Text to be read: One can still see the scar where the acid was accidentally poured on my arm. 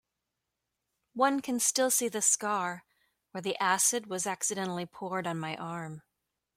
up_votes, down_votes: 2, 0